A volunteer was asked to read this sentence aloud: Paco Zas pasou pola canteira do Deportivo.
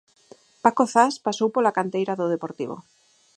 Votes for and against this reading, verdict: 4, 0, accepted